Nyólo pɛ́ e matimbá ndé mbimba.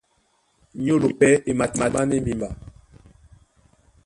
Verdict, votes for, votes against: rejected, 1, 2